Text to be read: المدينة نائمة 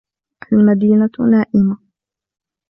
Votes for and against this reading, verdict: 2, 1, accepted